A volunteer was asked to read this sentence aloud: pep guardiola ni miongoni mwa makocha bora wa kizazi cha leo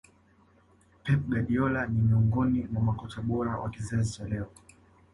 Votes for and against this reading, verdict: 1, 2, rejected